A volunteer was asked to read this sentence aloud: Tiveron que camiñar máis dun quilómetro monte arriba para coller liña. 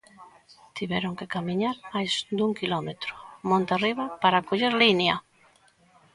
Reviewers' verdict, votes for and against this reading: rejected, 1, 2